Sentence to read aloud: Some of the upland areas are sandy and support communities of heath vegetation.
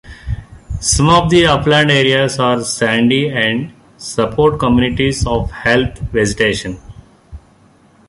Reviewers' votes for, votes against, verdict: 1, 2, rejected